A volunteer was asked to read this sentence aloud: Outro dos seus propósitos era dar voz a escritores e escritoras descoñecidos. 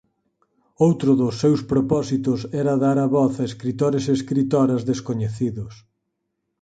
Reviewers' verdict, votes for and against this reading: rejected, 2, 4